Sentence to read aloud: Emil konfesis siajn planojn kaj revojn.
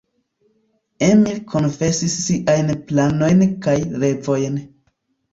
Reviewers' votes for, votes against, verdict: 1, 2, rejected